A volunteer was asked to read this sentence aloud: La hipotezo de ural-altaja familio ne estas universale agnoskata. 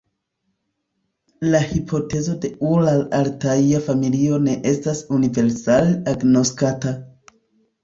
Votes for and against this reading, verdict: 1, 2, rejected